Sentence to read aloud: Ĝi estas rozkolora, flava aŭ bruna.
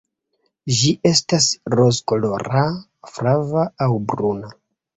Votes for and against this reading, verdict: 0, 2, rejected